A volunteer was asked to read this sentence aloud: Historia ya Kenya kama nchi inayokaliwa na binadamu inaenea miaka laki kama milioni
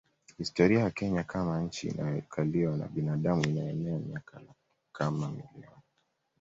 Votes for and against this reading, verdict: 0, 2, rejected